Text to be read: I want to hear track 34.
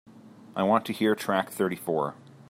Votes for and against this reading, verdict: 0, 2, rejected